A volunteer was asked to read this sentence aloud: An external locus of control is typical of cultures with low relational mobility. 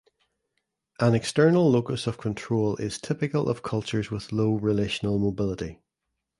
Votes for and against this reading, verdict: 2, 0, accepted